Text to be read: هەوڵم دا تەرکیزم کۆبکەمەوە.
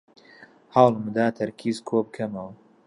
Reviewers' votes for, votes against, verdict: 1, 2, rejected